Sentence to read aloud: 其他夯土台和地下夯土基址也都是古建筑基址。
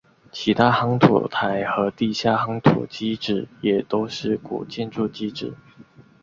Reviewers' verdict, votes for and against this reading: accepted, 2, 0